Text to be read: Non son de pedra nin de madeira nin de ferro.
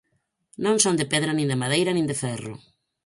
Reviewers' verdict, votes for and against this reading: accepted, 4, 0